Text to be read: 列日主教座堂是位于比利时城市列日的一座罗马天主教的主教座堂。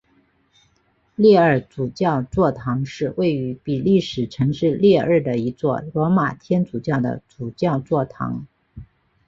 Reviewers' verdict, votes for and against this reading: accepted, 2, 0